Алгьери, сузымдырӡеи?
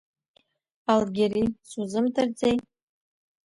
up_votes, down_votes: 0, 2